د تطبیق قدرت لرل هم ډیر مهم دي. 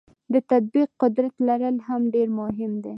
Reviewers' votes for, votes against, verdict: 2, 0, accepted